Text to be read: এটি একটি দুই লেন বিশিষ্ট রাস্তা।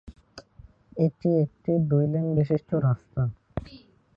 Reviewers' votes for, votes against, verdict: 1, 2, rejected